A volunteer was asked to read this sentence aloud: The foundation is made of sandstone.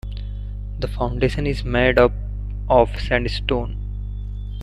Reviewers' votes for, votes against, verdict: 0, 2, rejected